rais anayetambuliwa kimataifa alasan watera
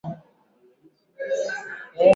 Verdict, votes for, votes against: rejected, 0, 8